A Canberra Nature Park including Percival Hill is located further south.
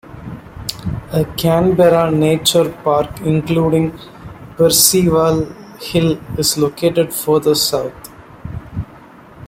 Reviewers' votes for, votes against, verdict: 2, 1, accepted